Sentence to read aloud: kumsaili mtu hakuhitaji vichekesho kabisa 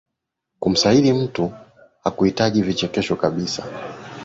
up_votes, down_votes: 2, 0